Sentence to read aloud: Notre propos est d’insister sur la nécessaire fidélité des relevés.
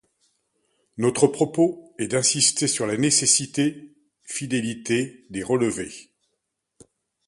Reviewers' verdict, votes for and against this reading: rejected, 0, 2